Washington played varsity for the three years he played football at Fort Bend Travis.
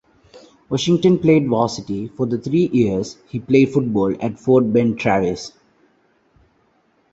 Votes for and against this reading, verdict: 0, 2, rejected